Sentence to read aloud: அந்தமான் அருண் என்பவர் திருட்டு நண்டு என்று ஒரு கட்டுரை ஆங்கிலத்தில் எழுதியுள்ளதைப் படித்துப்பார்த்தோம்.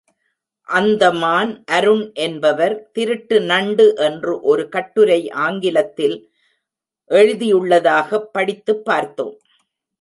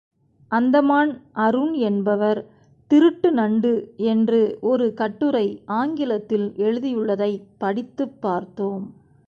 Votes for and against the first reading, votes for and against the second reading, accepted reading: 1, 2, 2, 0, second